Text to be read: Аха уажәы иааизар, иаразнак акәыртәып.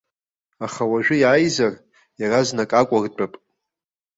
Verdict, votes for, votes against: accepted, 2, 0